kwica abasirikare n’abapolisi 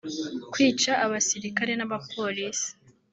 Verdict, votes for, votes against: rejected, 1, 2